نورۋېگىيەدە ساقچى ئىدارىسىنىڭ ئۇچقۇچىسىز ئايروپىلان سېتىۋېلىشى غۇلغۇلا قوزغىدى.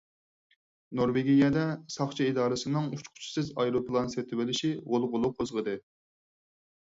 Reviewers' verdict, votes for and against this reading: accepted, 4, 0